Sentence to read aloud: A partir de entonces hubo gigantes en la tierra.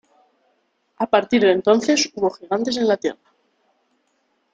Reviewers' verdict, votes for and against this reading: rejected, 0, 2